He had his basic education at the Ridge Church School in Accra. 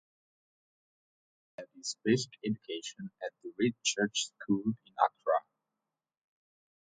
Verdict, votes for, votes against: rejected, 0, 2